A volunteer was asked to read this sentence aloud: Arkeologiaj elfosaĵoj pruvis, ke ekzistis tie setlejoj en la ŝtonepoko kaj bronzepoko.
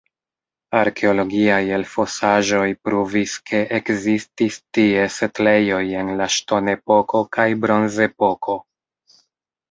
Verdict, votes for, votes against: accepted, 2, 0